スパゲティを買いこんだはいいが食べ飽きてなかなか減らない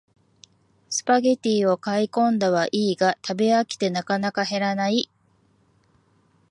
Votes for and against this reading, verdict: 2, 0, accepted